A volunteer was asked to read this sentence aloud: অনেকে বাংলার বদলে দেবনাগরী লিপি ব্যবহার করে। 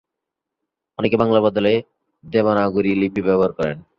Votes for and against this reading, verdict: 2, 1, accepted